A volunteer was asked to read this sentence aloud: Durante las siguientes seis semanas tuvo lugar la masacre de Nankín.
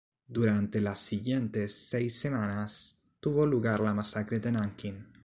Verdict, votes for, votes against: rejected, 1, 2